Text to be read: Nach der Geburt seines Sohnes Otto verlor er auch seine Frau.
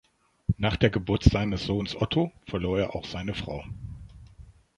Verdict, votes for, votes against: accepted, 2, 0